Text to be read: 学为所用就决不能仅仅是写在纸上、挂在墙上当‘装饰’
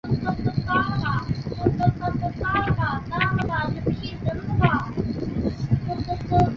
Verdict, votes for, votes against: rejected, 0, 3